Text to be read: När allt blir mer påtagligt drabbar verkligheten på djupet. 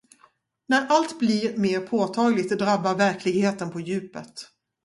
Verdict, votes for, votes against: accepted, 2, 0